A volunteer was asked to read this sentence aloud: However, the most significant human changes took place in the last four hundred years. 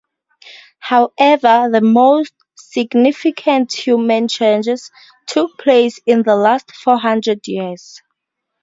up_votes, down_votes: 2, 0